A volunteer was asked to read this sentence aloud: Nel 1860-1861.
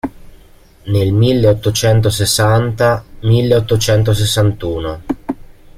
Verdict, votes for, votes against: rejected, 0, 2